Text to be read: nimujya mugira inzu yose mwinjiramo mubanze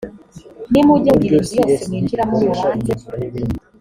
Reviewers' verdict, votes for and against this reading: accepted, 2, 0